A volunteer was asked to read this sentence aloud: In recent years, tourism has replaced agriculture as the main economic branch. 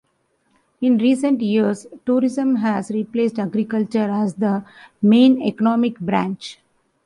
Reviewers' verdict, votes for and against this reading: accepted, 2, 1